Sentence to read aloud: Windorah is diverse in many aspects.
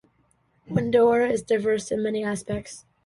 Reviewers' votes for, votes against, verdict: 2, 0, accepted